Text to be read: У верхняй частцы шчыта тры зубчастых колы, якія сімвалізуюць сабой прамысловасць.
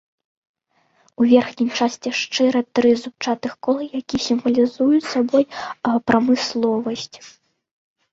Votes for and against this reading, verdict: 0, 2, rejected